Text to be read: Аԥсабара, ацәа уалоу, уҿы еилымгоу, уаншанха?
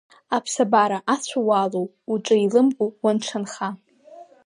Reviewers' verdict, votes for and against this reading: rejected, 0, 2